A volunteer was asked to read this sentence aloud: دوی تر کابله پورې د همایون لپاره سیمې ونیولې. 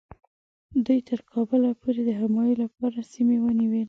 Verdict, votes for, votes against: accepted, 2, 0